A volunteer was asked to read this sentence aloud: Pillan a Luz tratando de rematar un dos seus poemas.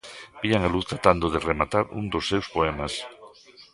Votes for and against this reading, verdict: 0, 2, rejected